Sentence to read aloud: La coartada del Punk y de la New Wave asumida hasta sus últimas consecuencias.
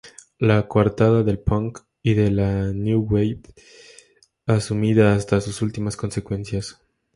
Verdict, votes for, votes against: accepted, 2, 0